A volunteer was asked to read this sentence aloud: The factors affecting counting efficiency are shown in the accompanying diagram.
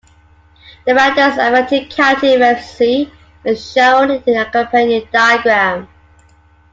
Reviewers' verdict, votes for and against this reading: rejected, 0, 2